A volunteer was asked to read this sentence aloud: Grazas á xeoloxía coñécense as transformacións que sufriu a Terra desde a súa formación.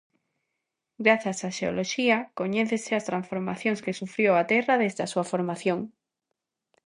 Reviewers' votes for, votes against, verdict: 0, 2, rejected